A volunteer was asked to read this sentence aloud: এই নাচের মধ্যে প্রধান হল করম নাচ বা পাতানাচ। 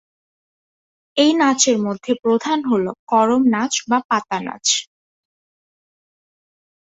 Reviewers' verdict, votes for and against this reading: accepted, 5, 0